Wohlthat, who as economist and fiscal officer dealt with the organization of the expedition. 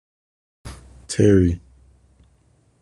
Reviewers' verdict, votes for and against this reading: rejected, 0, 2